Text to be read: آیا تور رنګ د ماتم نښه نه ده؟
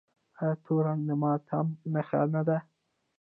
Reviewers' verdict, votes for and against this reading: accepted, 2, 0